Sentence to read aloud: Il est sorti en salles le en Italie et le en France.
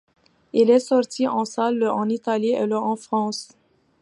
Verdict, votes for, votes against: accepted, 3, 0